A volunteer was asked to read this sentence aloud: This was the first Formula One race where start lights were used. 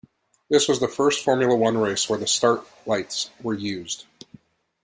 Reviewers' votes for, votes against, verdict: 1, 2, rejected